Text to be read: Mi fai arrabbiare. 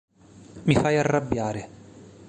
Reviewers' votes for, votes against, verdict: 2, 0, accepted